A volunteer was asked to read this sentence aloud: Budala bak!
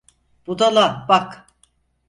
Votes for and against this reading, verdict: 4, 0, accepted